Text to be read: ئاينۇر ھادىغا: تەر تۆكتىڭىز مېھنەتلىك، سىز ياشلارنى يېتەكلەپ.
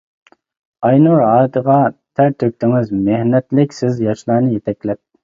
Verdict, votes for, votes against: rejected, 1, 2